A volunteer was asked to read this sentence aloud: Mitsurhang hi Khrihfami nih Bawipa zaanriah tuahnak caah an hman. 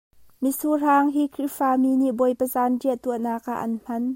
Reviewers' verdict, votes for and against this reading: rejected, 1, 2